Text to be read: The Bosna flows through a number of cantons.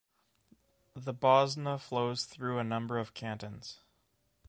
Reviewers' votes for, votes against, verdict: 2, 0, accepted